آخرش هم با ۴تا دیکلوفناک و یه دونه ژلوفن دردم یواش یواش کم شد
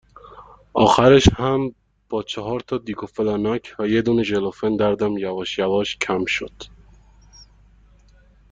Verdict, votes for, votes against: rejected, 0, 2